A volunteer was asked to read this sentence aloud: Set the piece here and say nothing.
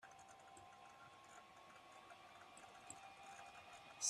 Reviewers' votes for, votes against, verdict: 0, 2, rejected